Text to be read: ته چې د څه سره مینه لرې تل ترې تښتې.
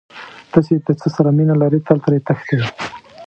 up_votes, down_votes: 1, 2